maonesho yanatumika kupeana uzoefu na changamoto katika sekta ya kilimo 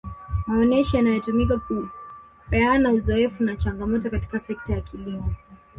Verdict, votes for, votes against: rejected, 0, 2